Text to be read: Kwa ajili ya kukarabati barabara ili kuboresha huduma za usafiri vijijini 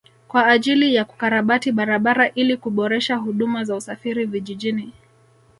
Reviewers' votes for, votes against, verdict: 3, 0, accepted